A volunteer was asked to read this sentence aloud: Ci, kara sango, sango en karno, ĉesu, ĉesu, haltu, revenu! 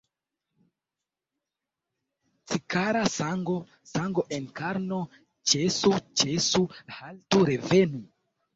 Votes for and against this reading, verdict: 1, 2, rejected